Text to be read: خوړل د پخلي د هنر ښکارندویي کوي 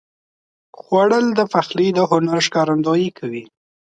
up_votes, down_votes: 2, 0